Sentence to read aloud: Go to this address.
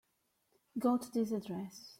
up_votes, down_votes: 2, 0